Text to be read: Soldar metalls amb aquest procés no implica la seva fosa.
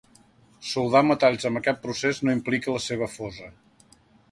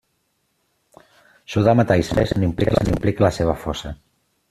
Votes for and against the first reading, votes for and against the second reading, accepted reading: 2, 0, 0, 2, first